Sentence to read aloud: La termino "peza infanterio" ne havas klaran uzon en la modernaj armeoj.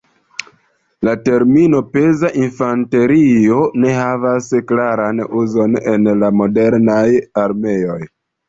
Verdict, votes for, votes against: accepted, 2, 0